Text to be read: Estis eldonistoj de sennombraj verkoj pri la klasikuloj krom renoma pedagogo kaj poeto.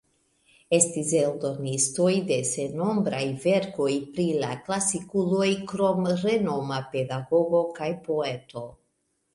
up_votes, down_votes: 2, 0